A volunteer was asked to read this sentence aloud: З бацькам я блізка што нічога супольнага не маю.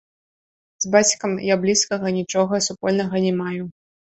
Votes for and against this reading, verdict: 0, 2, rejected